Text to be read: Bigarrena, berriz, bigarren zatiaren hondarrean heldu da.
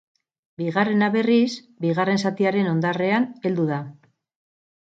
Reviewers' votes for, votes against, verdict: 0, 2, rejected